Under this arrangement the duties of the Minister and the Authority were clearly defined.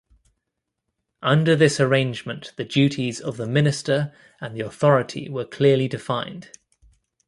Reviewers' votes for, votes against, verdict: 2, 0, accepted